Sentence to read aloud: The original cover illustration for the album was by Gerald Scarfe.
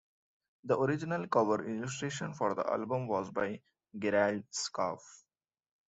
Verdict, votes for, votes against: rejected, 0, 2